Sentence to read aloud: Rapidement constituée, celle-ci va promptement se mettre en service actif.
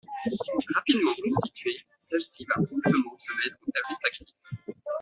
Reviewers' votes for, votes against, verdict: 0, 2, rejected